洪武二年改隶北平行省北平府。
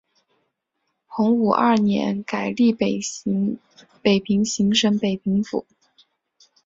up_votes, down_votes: 0, 2